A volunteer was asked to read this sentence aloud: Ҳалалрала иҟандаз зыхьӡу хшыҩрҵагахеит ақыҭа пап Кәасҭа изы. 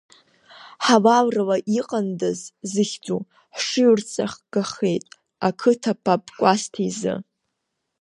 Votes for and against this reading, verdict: 2, 0, accepted